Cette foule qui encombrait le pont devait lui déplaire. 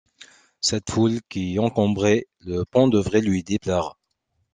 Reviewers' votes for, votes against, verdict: 1, 2, rejected